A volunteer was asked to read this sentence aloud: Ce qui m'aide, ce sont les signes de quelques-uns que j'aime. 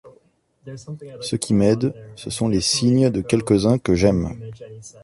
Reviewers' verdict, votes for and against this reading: rejected, 1, 2